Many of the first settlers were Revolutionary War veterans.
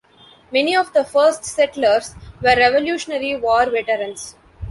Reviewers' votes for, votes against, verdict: 2, 0, accepted